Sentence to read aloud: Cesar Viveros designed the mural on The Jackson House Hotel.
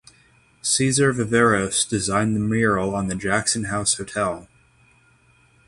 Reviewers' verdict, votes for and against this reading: accepted, 6, 0